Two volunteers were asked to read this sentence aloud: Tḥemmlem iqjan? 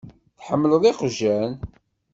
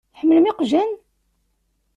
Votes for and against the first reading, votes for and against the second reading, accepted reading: 0, 2, 2, 0, second